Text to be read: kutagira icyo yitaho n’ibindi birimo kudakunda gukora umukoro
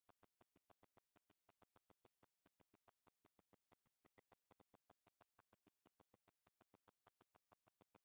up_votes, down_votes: 0, 2